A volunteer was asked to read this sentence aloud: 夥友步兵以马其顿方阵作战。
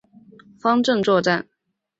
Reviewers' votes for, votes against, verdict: 0, 2, rejected